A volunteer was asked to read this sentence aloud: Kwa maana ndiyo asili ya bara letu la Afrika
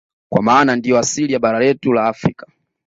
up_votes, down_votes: 2, 0